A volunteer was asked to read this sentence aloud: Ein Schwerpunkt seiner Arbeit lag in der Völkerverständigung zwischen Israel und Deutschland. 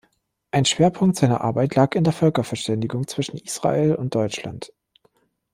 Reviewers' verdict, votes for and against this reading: accepted, 2, 0